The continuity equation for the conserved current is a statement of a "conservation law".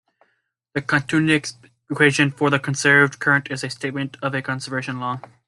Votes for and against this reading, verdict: 0, 2, rejected